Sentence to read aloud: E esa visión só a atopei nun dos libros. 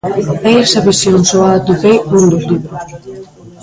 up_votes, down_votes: 0, 2